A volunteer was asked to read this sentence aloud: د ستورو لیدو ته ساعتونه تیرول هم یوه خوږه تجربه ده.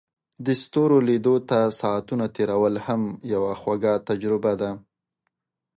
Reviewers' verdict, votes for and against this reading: accepted, 2, 0